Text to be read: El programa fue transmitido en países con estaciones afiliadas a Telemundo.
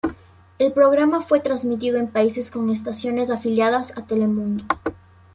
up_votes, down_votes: 2, 0